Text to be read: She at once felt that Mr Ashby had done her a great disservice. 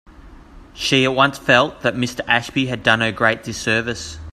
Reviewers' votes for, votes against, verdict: 2, 1, accepted